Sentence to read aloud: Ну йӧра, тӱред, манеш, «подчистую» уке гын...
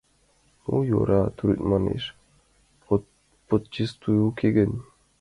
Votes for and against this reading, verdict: 1, 2, rejected